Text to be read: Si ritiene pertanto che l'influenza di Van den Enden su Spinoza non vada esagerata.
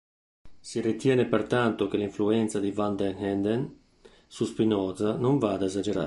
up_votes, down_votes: 0, 2